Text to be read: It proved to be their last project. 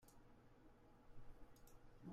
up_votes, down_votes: 0, 2